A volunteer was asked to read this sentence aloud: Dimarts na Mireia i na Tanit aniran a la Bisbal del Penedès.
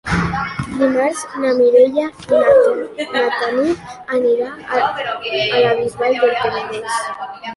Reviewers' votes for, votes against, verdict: 0, 2, rejected